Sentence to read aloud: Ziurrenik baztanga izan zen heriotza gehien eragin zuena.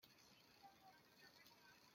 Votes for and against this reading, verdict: 0, 2, rejected